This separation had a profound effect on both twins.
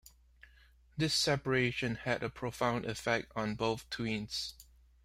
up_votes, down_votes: 2, 0